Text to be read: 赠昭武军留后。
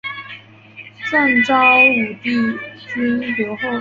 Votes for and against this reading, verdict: 2, 3, rejected